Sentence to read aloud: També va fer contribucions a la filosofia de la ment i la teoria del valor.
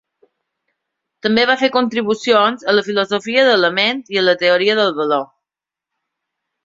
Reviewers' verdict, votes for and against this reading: accepted, 2, 1